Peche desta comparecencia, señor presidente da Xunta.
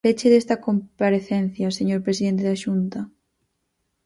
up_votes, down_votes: 4, 0